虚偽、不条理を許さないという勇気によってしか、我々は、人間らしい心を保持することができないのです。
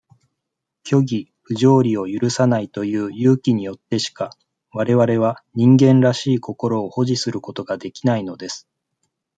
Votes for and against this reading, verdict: 2, 0, accepted